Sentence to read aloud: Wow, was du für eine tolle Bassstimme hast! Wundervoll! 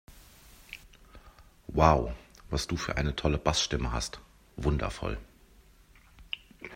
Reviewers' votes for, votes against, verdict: 2, 0, accepted